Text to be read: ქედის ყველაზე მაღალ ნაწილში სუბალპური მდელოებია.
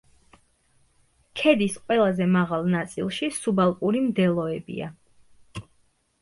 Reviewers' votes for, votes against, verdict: 2, 0, accepted